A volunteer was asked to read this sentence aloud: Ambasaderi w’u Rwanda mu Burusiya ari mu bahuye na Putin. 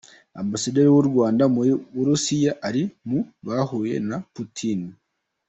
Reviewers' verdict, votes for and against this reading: accepted, 2, 0